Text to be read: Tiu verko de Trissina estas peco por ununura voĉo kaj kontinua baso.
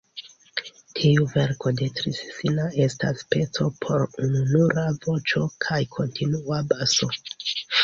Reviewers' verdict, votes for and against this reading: accepted, 2, 1